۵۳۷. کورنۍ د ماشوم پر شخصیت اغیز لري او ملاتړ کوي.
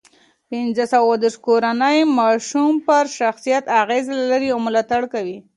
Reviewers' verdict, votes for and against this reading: rejected, 0, 2